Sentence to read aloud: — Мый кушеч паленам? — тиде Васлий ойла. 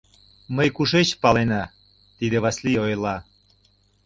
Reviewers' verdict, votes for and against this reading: rejected, 1, 2